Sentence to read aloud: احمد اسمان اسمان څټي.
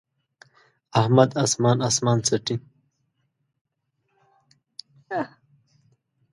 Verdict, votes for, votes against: rejected, 1, 2